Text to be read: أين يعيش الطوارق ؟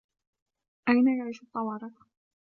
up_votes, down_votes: 0, 2